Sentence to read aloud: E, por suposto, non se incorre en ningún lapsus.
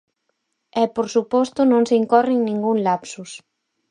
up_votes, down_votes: 4, 0